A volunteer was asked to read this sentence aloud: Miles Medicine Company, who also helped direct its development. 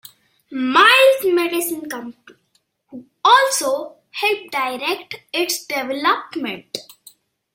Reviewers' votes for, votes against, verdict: 1, 2, rejected